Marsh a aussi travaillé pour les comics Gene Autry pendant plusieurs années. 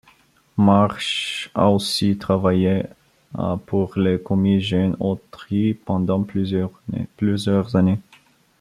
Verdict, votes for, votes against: rejected, 0, 2